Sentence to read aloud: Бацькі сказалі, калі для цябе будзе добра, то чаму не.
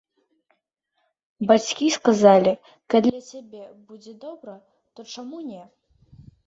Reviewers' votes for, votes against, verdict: 2, 1, accepted